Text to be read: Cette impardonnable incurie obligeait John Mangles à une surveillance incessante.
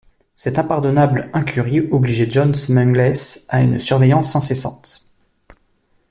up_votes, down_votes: 1, 2